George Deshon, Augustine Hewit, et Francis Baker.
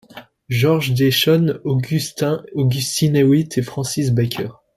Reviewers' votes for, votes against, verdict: 1, 2, rejected